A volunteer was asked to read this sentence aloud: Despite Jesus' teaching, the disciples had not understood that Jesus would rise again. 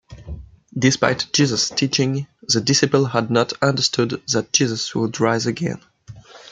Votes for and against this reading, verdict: 1, 2, rejected